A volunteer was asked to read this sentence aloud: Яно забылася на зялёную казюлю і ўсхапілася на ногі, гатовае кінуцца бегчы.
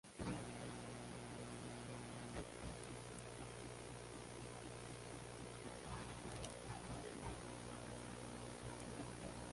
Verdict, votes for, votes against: rejected, 0, 2